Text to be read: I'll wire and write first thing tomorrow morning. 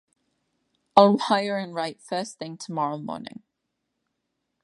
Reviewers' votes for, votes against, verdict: 1, 2, rejected